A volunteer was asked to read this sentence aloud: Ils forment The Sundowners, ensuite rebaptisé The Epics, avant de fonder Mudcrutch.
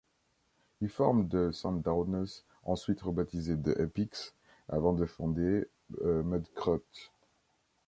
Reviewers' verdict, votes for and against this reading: rejected, 1, 2